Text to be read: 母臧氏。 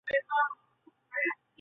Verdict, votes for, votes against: accepted, 2, 0